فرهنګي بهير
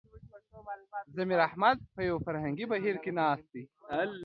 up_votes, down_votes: 0, 2